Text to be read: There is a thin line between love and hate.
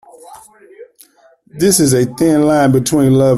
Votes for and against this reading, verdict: 0, 2, rejected